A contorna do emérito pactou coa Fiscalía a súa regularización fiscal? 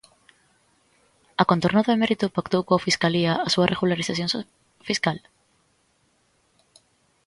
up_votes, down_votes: 0, 2